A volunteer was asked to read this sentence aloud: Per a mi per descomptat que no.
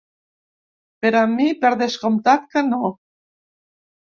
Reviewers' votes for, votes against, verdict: 2, 0, accepted